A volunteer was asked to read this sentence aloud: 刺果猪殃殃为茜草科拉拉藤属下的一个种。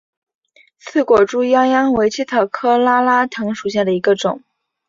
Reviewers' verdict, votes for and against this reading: accepted, 6, 0